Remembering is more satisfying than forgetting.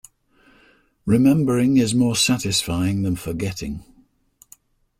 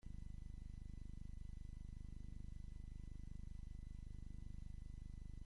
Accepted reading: first